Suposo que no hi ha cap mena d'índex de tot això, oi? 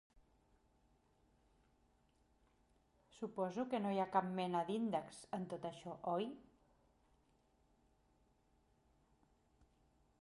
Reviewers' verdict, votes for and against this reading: rejected, 0, 2